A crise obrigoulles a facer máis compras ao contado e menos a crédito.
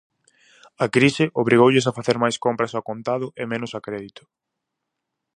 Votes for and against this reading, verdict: 4, 0, accepted